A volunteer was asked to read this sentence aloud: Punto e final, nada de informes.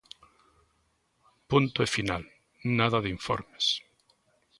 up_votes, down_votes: 2, 0